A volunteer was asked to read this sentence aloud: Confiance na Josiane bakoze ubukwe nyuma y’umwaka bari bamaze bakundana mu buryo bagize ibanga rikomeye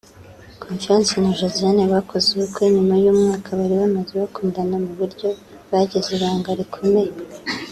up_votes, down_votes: 2, 0